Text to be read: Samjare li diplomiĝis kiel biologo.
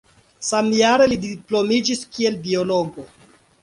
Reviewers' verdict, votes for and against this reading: accepted, 2, 0